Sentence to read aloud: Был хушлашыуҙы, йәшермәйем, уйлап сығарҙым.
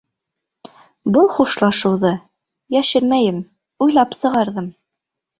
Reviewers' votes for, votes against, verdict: 2, 0, accepted